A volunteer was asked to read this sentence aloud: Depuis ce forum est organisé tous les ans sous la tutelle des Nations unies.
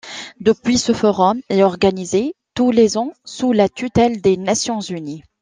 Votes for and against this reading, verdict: 2, 0, accepted